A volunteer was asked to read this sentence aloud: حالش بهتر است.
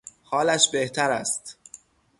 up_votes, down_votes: 0, 3